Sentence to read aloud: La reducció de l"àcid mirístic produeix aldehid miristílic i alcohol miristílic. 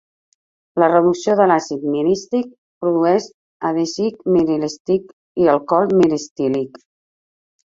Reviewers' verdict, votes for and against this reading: rejected, 0, 2